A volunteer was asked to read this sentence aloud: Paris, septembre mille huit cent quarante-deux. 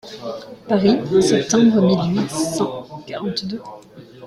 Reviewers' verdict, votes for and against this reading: rejected, 1, 2